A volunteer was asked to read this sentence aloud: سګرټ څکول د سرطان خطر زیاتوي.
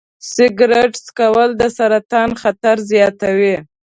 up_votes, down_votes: 2, 0